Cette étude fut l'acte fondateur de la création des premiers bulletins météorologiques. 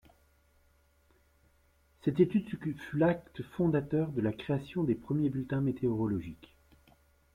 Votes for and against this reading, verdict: 0, 2, rejected